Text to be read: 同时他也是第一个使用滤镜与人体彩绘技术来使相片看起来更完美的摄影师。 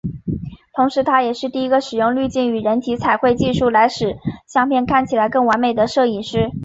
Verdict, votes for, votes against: accepted, 2, 0